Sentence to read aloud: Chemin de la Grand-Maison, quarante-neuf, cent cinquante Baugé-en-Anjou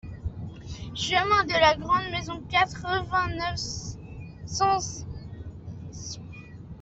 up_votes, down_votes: 0, 2